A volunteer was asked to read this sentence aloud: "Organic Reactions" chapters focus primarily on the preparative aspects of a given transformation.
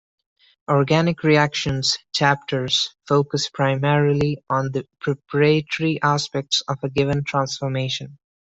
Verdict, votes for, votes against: rejected, 1, 2